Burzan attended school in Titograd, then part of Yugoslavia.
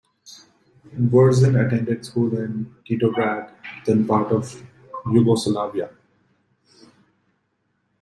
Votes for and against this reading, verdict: 2, 0, accepted